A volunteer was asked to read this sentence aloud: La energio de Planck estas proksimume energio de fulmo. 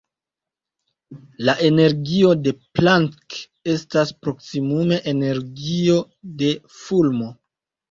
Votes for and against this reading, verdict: 2, 0, accepted